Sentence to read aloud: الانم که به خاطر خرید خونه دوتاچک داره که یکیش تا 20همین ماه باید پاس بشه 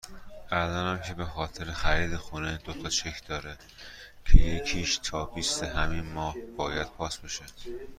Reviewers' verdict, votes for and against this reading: rejected, 0, 2